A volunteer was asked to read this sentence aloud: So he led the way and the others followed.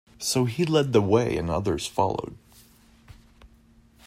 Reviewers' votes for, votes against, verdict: 2, 1, accepted